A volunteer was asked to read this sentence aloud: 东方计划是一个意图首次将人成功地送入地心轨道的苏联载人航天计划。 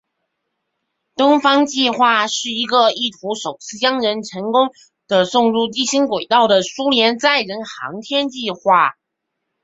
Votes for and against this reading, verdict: 0, 2, rejected